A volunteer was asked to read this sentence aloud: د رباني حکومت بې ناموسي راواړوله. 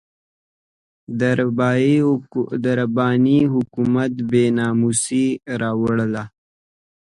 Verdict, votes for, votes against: accepted, 3, 0